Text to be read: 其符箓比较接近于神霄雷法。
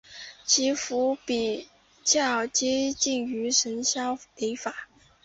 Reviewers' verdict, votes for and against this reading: accepted, 2, 0